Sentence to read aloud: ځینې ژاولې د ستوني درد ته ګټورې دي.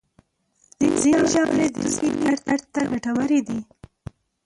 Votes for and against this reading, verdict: 0, 2, rejected